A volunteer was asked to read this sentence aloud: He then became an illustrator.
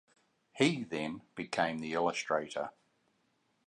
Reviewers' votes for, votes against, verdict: 1, 2, rejected